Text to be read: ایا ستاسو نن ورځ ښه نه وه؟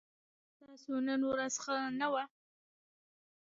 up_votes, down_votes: 1, 2